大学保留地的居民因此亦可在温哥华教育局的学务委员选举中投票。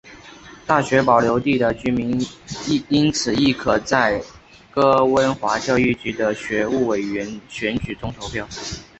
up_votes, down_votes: 0, 2